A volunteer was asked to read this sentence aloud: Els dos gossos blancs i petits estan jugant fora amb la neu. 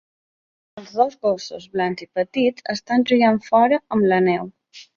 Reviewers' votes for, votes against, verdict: 2, 0, accepted